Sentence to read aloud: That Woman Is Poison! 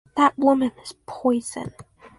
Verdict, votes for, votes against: accepted, 4, 0